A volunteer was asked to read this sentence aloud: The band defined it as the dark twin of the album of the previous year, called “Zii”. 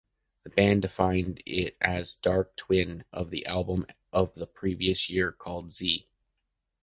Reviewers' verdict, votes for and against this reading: rejected, 0, 2